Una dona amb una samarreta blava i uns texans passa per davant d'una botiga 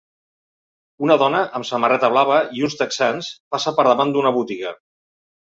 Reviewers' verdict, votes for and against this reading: rejected, 0, 2